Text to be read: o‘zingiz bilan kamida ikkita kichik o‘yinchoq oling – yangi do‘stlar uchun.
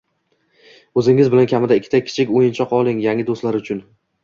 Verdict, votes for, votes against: accepted, 2, 0